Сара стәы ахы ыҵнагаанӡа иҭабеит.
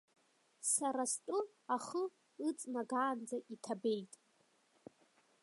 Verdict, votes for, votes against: accepted, 2, 0